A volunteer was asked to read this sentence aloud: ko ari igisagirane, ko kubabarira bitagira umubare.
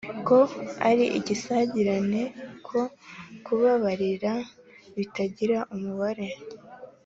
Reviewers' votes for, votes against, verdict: 2, 0, accepted